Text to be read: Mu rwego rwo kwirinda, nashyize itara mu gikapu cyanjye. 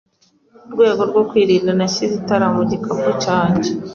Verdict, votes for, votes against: accepted, 2, 0